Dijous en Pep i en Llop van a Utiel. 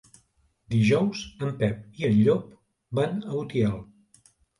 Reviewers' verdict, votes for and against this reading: accepted, 3, 0